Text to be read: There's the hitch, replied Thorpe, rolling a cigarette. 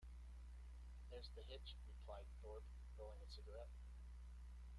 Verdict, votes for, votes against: rejected, 1, 2